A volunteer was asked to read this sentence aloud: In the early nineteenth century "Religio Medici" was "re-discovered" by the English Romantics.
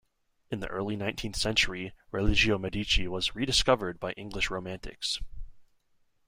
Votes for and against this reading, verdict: 2, 1, accepted